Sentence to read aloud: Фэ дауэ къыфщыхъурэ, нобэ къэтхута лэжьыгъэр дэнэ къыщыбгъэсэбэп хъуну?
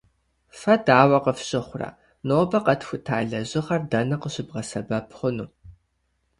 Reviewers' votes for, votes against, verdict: 2, 0, accepted